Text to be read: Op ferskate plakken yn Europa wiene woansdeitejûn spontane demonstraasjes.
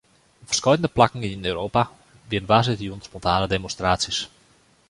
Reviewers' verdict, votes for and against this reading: rejected, 1, 2